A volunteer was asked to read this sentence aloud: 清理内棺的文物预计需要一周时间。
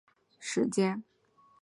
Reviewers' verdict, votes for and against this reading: rejected, 0, 2